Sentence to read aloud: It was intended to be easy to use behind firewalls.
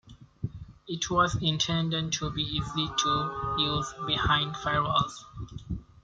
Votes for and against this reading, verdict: 2, 1, accepted